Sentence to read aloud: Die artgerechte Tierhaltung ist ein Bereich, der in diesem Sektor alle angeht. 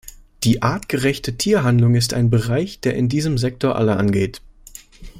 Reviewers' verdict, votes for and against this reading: rejected, 0, 2